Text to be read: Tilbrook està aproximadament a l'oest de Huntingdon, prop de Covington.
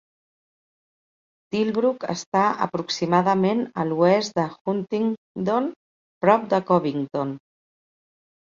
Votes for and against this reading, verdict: 4, 0, accepted